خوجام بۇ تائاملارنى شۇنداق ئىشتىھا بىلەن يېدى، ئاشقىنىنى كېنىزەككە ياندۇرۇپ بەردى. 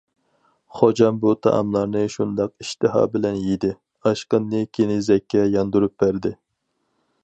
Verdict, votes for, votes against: rejected, 2, 2